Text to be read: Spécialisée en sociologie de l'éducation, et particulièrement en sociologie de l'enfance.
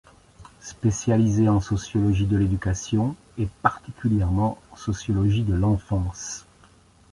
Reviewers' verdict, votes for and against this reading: accepted, 2, 0